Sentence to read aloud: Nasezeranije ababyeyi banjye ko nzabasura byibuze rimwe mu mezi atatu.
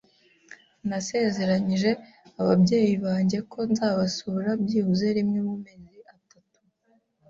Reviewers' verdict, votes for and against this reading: accepted, 2, 0